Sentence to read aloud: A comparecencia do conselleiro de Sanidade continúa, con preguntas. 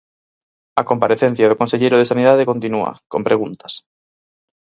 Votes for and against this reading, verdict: 4, 0, accepted